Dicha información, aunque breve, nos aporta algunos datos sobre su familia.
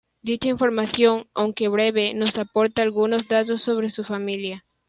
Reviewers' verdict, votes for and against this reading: accepted, 2, 1